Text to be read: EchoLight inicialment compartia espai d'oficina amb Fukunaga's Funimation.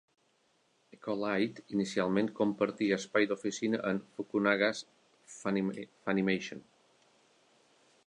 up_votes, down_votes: 1, 2